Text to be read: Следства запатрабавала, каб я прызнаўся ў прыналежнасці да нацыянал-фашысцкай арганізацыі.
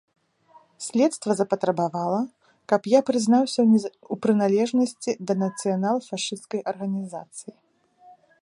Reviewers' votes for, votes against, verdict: 0, 2, rejected